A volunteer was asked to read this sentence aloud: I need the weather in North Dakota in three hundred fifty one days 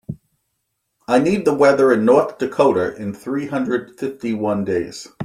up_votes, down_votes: 2, 0